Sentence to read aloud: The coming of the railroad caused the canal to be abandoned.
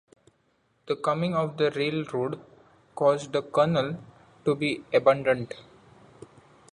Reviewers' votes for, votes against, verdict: 0, 2, rejected